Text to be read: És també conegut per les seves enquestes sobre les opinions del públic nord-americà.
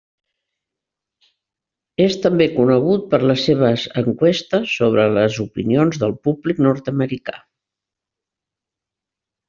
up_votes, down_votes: 1, 2